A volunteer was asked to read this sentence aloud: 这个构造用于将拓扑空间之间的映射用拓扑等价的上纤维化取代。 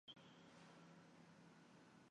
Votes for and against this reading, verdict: 0, 3, rejected